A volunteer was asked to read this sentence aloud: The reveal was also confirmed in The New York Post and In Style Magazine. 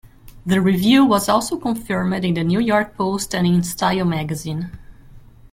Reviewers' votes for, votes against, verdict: 2, 1, accepted